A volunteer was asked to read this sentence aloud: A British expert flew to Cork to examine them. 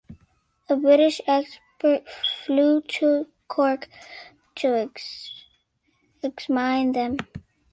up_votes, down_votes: 2, 1